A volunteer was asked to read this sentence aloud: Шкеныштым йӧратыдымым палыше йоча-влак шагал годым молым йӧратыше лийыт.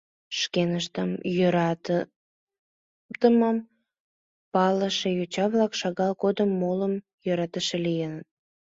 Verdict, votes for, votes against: rejected, 1, 2